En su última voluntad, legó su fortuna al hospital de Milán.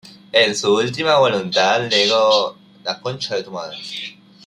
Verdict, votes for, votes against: rejected, 0, 2